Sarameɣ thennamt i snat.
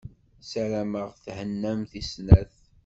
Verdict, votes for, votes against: accepted, 2, 0